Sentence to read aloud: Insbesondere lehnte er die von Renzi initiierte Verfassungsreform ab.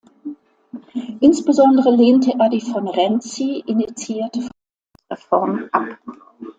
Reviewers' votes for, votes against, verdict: 0, 2, rejected